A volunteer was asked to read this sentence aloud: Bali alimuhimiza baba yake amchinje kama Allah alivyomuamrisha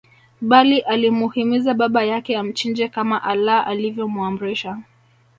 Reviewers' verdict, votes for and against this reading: accepted, 2, 0